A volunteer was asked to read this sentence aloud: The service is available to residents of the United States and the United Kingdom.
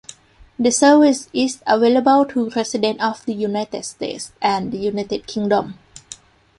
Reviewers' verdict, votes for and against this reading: accepted, 2, 0